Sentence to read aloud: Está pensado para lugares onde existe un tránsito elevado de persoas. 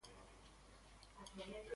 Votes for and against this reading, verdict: 0, 2, rejected